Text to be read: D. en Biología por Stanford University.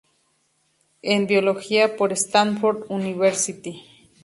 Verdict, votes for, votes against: rejected, 0, 2